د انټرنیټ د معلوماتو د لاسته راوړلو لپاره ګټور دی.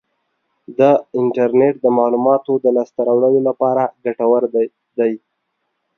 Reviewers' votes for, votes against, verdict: 2, 1, accepted